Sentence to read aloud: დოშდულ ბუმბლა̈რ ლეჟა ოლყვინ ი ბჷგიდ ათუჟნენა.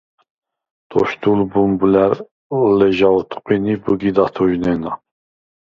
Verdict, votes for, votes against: rejected, 0, 4